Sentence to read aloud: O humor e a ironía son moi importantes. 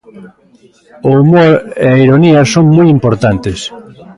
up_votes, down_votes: 2, 0